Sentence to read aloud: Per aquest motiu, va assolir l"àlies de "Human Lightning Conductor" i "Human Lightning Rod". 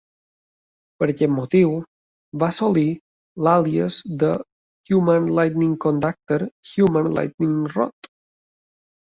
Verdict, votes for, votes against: rejected, 1, 2